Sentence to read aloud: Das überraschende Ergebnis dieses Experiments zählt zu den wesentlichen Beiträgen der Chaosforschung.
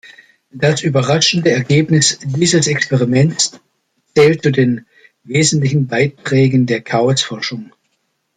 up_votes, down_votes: 1, 2